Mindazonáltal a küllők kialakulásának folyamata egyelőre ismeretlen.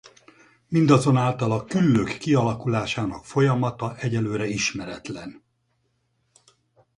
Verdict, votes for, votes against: accepted, 4, 0